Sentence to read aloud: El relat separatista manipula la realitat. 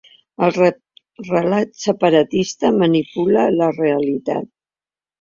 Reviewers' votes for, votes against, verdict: 1, 2, rejected